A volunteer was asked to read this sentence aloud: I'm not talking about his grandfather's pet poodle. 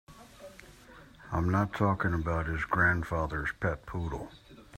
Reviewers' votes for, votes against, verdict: 2, 0, accepted